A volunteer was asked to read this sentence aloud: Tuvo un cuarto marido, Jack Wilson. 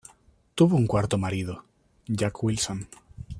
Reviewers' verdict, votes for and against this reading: accepted, 2, 0